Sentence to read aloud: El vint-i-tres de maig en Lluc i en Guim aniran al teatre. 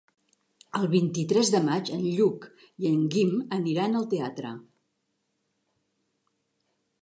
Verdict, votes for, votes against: accepted, 3, 0